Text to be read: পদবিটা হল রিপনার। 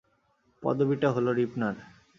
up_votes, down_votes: 2, 0